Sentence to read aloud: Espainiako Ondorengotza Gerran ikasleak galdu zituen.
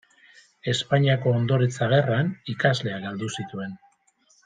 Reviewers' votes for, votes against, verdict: 0, 2, rejected